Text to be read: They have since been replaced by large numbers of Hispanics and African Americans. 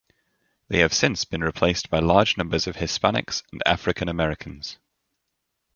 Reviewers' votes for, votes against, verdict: 2, 0, accepted